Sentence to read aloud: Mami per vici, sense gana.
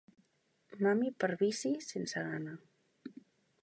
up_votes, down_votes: 2, 0